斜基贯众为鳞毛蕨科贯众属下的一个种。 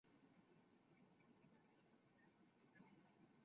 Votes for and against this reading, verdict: 0, 2, rejected